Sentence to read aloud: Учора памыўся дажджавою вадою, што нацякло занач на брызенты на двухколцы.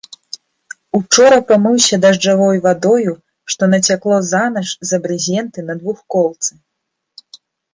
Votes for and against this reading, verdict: 1, 2, rejected